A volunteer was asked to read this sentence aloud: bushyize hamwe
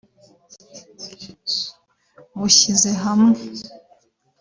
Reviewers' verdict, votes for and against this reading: rejected, 1, 2